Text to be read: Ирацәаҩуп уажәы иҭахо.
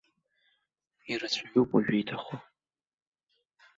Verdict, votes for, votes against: accepted, 2, 0